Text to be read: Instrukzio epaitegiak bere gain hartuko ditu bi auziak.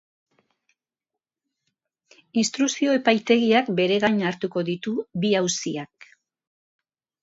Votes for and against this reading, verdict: 2, 0, accepted